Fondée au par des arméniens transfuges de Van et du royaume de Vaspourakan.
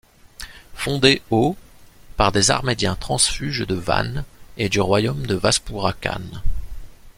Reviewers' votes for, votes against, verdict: 0, 2, rejected